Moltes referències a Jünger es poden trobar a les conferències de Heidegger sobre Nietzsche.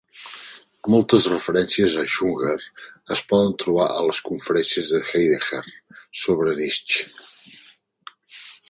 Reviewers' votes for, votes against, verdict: 0, 2, rejected